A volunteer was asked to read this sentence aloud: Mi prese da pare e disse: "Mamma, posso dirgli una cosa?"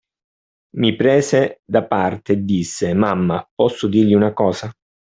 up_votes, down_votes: 0, 2